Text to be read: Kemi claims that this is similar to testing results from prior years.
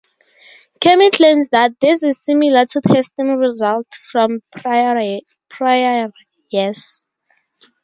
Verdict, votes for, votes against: rejected, 0, 2